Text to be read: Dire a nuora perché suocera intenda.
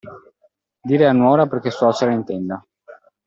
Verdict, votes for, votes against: accepted, 2, 0